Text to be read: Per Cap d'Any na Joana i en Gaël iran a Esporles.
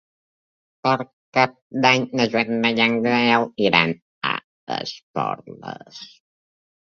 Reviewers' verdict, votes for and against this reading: rejected, 0, 2